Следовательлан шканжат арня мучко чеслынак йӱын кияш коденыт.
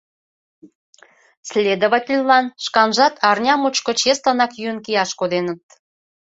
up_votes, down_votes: 2, 0